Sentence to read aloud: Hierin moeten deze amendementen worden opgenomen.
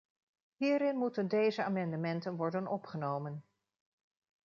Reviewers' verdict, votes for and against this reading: rejected, 0, 2